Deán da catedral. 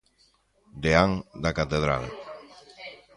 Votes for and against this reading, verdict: 1, 2, rejected